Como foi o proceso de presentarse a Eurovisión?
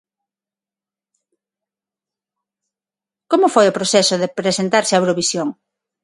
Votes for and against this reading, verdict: 6, 0, accepted